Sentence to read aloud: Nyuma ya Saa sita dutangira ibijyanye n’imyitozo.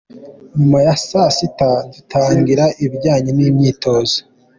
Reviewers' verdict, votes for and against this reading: accepted, 2, 0